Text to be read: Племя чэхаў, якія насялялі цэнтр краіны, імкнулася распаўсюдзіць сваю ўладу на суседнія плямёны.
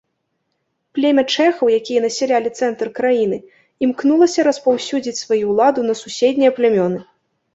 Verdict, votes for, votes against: accepted, 3, 0